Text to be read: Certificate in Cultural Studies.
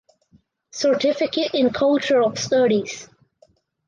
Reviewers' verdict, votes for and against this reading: accepted, 4, 0